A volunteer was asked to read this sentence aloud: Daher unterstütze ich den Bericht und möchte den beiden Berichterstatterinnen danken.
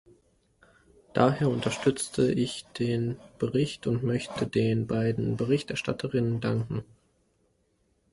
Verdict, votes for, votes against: rejected, 0, 2